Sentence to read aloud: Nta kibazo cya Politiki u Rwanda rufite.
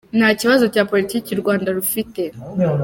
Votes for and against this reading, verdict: 2, 0, accepted